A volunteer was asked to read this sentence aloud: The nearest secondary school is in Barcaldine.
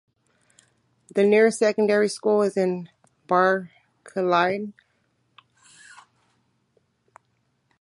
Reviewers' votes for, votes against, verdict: 0, 2, rejected